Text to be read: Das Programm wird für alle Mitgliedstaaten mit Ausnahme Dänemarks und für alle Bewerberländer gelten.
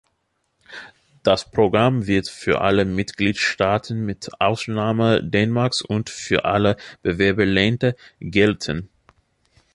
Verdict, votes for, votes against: accepted, 2, 1